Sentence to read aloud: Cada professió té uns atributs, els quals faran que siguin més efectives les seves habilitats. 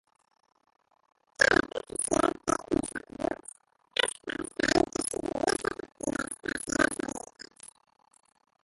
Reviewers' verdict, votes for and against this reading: rejected, 0, 2